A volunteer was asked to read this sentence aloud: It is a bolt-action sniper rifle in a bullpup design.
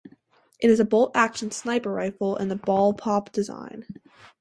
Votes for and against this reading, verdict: 4, 0, accepted